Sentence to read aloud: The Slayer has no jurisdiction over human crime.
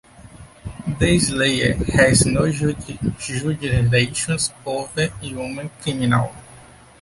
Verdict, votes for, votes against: rejected, 1, 2